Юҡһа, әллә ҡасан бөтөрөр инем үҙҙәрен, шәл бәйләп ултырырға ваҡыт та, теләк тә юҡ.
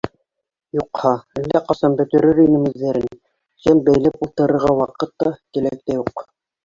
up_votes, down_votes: 1, 2